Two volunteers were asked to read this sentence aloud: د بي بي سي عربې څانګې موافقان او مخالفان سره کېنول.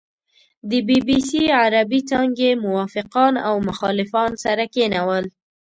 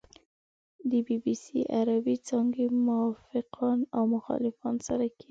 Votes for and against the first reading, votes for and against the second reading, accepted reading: 2, 0, 0, 2, first